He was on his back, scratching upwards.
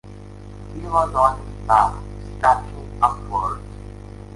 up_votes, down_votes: 2, 1